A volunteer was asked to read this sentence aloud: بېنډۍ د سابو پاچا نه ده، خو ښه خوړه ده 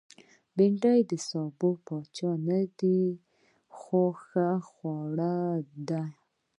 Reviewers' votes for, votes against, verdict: 2, 0, accepted